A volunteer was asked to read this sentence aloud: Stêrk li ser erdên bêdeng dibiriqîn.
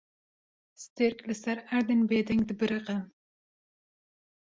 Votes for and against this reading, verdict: 0, 2, rejected